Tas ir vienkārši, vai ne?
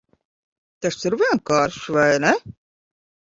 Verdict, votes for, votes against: rejected, 0, 2